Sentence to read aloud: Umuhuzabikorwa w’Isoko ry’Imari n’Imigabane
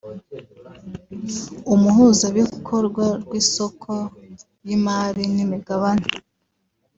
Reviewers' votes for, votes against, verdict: 2, 0, accepted